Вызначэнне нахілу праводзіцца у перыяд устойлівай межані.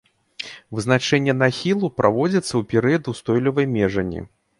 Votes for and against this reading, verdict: 2, 0, accepted